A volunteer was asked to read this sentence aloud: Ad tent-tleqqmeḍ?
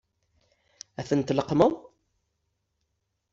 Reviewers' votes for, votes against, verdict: 2, 0, accepted